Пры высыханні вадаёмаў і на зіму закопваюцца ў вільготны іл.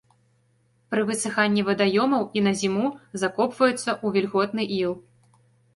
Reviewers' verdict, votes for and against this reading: accepted, 2, 0